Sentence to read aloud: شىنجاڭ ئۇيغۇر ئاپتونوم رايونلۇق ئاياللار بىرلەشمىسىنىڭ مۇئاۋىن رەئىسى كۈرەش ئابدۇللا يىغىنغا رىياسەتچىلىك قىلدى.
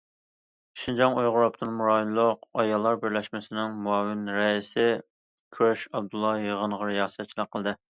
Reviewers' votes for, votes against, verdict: 2, 0, accepted